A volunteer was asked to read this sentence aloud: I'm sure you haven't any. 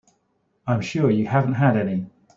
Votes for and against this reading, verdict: 1, 2, rejected